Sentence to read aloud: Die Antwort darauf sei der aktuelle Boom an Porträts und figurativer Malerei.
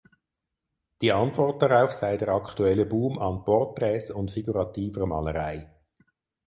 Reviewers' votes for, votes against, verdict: 4, 0, accepted